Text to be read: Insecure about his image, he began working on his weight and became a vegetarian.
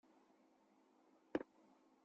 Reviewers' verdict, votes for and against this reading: rejected, 0, 2